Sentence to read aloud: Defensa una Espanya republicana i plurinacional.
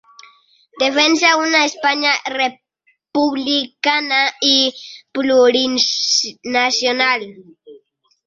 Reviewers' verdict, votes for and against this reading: rejected, 1, 2